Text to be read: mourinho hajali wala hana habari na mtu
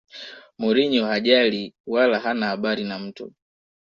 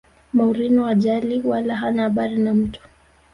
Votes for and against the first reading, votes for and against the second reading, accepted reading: 2, 0, 1, 2, first